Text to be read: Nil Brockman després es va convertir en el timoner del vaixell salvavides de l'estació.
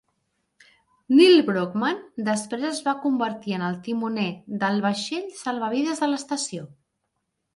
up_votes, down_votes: 2, 0